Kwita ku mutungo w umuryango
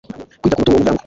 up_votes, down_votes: 2, 0